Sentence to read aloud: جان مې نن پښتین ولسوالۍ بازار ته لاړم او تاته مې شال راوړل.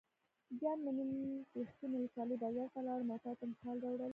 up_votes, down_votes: 0, 2